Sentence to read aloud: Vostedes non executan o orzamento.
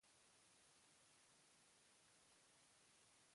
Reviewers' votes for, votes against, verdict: 0, 2, rejected